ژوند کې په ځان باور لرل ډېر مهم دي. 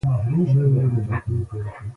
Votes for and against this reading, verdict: 1, 2, rejected